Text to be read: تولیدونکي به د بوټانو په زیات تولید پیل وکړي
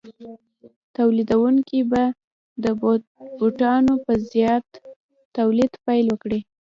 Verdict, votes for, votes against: accepted, 2, 1